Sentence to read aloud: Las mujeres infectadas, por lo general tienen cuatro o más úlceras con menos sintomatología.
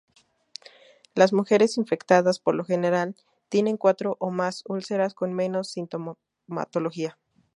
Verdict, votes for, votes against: rejected, 0, 2